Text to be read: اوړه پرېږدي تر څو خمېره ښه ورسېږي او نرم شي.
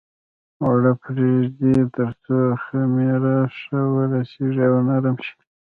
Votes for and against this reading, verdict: 2, 1, accepted